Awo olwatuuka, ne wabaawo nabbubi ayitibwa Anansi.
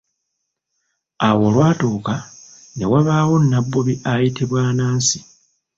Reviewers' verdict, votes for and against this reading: rejected, 1, 2